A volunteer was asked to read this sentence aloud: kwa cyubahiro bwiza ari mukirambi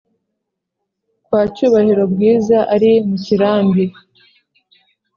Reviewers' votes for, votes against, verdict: 4, 0, accepted